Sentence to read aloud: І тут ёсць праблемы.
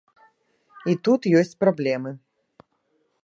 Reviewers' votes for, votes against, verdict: 2, 0, accepted